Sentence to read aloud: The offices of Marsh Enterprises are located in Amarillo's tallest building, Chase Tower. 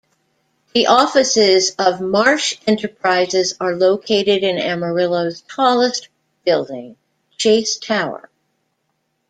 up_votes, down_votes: 2, 0